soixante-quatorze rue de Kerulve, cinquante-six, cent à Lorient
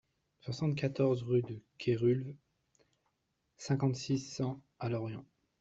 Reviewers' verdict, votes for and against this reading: accepted, 2, 0